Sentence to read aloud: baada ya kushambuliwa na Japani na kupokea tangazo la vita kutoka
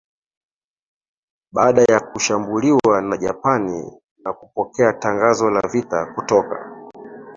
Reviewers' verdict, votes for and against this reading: rejected, 1, 2